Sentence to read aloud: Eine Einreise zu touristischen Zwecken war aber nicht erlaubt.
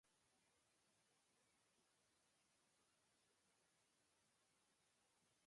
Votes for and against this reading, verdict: 0, 2, rejected